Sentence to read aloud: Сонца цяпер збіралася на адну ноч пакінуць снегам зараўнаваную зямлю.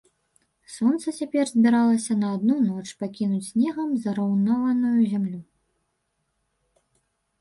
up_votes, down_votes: 1, 2